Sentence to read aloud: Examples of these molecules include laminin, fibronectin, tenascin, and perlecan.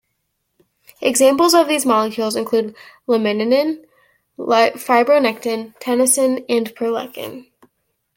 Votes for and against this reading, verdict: 1, 2, rejected